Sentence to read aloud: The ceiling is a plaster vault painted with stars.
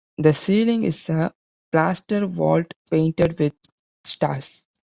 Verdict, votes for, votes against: accepted, 2, 0